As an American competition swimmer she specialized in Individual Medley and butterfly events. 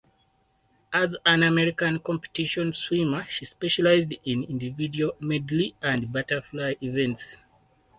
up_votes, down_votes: 4, 0